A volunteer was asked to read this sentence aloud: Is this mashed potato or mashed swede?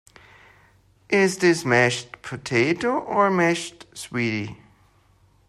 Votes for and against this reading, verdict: 2, 0, accepted